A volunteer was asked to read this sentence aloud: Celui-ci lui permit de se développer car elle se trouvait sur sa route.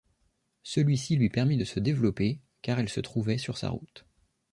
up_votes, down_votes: 2, 0